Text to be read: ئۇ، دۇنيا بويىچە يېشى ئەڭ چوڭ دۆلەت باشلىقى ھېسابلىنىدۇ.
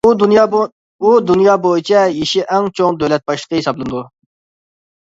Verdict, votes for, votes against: rejected, 1, 2